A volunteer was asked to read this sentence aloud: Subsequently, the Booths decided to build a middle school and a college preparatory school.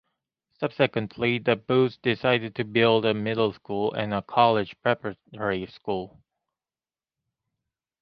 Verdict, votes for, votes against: accepted, 2, 0